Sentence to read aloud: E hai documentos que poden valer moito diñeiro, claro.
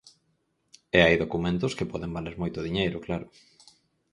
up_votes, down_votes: 4, 0